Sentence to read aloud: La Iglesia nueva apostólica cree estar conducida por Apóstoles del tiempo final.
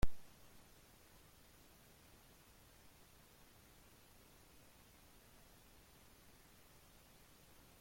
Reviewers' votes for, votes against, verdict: 0, 2, rejected